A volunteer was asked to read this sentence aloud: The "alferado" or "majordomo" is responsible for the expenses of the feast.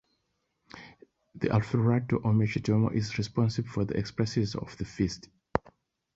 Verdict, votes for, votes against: rejected, 1, 2